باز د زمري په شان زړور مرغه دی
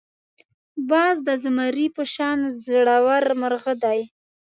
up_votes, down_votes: 2, 0